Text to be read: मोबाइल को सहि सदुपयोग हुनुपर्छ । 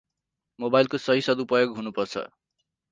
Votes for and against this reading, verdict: 4, 0, accepted